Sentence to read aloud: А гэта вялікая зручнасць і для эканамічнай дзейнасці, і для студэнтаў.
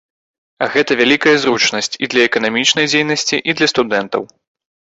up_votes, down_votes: 2, 0